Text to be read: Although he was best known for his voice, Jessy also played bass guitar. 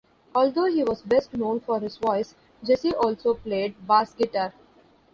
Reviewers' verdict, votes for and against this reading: rejected, 1, 2